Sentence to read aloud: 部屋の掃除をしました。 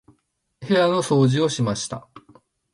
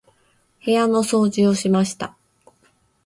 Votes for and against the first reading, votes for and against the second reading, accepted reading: 0, 2, 2, 0, second